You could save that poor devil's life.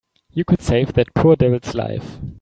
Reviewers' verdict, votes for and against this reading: accepted, 3, 0